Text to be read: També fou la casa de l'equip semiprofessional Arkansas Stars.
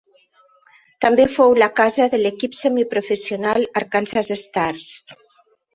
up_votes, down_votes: 3, 1